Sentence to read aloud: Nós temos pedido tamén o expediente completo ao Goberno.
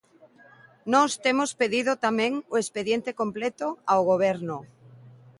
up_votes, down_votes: 2, 0